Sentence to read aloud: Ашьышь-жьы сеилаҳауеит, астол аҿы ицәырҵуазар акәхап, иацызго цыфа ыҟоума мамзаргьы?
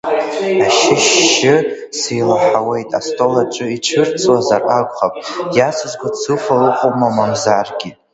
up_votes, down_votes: 0, 2